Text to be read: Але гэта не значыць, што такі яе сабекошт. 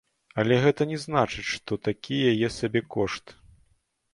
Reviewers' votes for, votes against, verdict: 2, 0, accepted